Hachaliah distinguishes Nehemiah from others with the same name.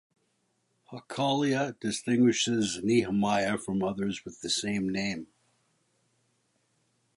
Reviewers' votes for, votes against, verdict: 2, 0, accepted